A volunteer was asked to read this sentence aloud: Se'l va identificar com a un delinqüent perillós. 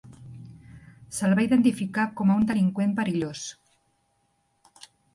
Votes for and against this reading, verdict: 3, 0, accepted